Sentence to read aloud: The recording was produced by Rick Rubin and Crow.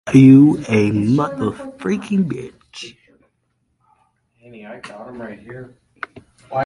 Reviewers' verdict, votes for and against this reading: rejected, 0, 2